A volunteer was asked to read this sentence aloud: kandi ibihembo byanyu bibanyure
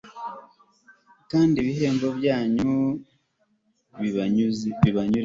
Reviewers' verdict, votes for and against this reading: rejected, 1, 2